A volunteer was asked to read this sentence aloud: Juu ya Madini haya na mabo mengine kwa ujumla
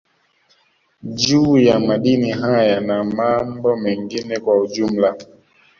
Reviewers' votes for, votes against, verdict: 1, 2, rejected